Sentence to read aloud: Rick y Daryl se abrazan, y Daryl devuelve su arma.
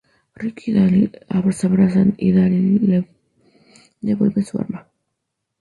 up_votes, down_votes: 2, 2